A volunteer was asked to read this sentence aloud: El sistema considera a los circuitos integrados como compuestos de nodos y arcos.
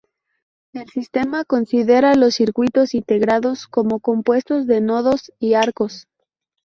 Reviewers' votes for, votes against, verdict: 0, 2, rejected